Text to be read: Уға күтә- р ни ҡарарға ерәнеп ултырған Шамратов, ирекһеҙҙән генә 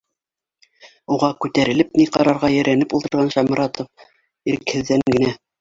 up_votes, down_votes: 2, 1